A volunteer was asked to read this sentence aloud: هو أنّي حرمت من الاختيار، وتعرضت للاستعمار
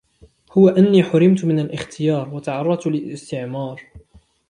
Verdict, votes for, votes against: accepted, 2, 0